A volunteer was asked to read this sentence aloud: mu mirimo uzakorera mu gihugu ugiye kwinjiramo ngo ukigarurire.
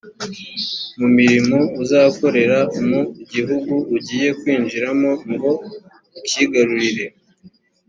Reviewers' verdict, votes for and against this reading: accepted, 2, 0